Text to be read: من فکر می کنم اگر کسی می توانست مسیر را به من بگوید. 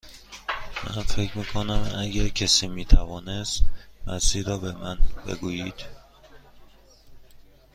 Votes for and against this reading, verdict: 1, 2, rejected